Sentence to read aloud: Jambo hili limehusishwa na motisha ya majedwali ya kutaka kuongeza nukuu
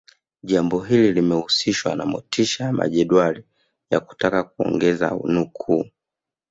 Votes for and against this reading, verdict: 3, 1, accepted